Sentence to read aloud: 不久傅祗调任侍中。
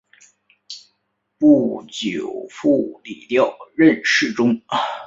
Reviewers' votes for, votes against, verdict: 2, 0, accepted